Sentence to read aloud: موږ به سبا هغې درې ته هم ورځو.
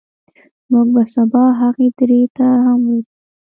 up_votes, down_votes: 1, 2